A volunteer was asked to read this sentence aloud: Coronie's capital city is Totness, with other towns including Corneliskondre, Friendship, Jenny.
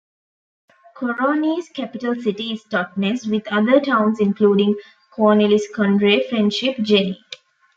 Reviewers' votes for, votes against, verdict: 0, 2, rejected